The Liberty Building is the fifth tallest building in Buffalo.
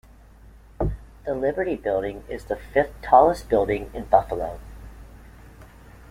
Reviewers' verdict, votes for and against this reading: accepted, 3, 0